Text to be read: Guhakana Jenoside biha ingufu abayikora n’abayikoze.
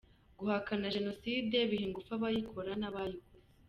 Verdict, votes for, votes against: accepted, 2, 1